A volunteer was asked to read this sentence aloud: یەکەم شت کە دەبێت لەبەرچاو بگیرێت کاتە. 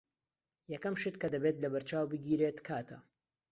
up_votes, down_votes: 2, 0